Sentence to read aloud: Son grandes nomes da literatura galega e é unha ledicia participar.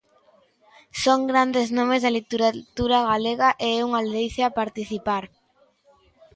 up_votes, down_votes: 0, 2